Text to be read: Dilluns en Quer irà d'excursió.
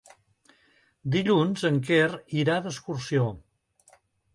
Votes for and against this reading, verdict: 3, 0, accepted